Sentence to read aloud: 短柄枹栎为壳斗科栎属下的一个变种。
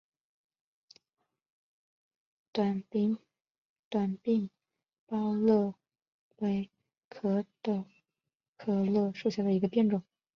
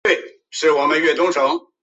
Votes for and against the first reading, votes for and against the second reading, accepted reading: 5, 1, 0, 3, first